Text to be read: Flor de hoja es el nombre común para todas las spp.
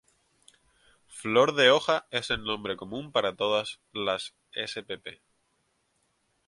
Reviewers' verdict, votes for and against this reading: accepted, 2, 0